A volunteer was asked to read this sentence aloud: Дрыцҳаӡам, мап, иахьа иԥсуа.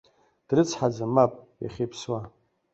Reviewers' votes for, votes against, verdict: 2, 0, accepted